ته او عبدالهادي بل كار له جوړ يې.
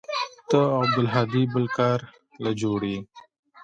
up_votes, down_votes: 2, 1